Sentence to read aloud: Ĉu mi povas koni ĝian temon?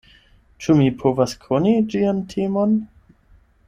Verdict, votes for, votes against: accepted, 8, 0